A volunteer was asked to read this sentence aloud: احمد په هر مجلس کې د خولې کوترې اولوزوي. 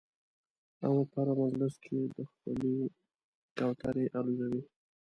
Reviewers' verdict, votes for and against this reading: rejected, 1, 2